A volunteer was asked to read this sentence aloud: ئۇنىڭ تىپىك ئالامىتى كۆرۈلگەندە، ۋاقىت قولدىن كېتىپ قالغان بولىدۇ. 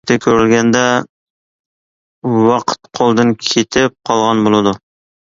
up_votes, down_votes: 0, 2